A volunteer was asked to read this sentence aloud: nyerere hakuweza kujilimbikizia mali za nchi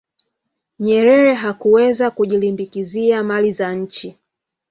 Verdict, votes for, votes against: accepted, 2, 0